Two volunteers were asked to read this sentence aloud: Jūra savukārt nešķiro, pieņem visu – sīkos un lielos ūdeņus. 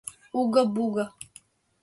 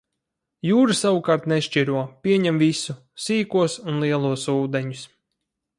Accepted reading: second